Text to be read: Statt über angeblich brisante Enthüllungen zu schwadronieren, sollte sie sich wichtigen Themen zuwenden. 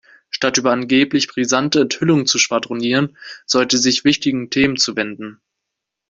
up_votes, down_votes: 0, 2